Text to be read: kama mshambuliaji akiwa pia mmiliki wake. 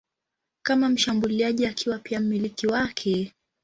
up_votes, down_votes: 2, 0